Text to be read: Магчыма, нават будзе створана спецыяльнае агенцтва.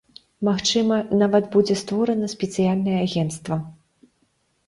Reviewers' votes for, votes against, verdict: 1, 2, rejected